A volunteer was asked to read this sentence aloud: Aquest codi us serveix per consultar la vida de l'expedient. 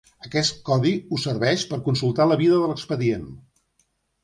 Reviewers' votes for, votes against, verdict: 2, 1, accepted